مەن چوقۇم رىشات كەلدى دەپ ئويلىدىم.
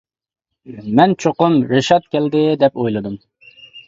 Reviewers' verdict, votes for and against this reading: accepted, 2, 0